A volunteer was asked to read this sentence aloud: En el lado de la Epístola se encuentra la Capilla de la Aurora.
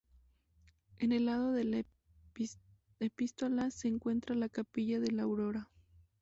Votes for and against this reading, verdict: 0, 2, rejected